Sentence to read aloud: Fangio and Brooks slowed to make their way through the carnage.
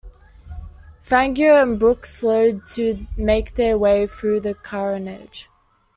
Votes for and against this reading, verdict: 2, 0, accepted